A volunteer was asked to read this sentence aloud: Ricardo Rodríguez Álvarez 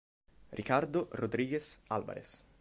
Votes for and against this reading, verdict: 2, 0, accepted